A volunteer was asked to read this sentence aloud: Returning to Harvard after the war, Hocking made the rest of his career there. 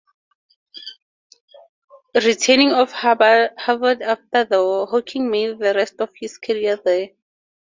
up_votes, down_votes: 0, 2